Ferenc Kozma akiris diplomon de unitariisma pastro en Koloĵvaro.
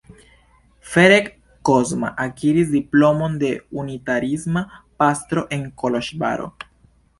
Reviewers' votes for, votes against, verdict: 2, 0, accepted